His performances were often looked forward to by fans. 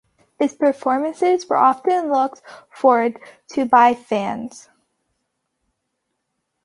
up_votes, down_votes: 2, 1